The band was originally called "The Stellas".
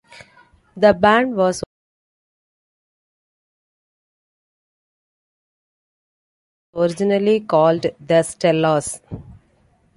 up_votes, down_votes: 0, 2